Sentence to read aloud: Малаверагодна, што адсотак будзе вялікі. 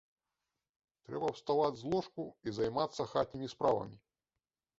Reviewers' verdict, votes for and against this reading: rejected, 0, 2